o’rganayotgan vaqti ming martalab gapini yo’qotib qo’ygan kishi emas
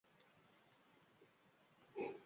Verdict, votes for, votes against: rejected, 0, 2